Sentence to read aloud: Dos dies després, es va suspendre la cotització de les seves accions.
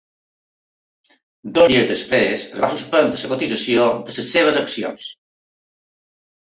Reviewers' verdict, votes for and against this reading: rejected, 0, 2